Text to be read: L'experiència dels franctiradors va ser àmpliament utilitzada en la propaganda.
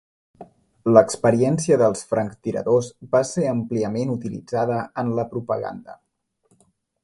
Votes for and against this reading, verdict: 2, 0, accepted